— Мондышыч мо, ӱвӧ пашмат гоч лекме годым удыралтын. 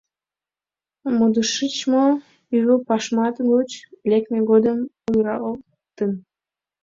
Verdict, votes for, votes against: rejected, 0, 2